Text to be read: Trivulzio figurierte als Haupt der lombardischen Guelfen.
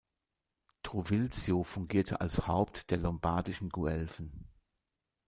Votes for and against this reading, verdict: 1, 2, rejected